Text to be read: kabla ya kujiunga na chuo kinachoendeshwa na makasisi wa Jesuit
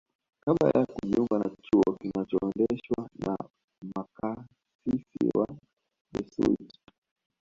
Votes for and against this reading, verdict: 1, 2, rejected